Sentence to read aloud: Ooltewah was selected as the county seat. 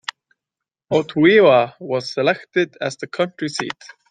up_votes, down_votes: 1, 2